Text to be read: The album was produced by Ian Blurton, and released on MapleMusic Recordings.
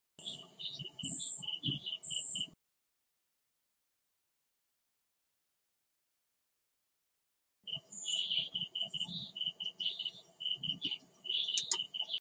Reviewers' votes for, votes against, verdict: 0, 2, rejected